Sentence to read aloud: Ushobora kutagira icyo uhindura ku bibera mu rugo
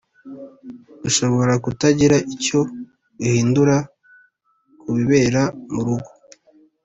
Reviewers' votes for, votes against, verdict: 2, 0, accepted